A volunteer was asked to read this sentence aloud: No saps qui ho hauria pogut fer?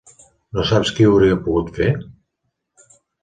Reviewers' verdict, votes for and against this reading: accepted, 2, 0